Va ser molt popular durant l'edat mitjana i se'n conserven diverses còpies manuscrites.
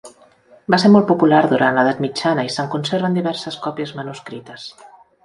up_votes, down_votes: 3, 0